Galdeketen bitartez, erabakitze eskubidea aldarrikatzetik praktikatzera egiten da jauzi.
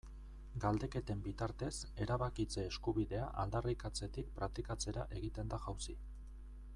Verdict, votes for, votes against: rejected, 0, 2